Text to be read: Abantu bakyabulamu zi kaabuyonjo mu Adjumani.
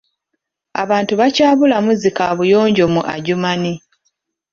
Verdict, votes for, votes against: accepted, 2, 0